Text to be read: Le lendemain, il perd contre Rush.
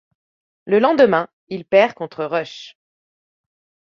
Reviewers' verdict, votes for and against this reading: accepted, 2, 0